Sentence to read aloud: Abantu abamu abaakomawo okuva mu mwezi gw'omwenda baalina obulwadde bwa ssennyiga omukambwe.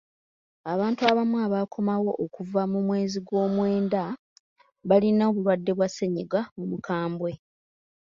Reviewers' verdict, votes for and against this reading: accepted, 2, 0